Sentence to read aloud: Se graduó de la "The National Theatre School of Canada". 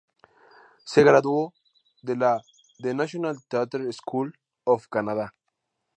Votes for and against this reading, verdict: 2, 0, accepted